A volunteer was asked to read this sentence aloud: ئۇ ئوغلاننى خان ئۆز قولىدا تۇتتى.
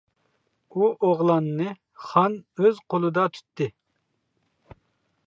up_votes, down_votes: 2, 0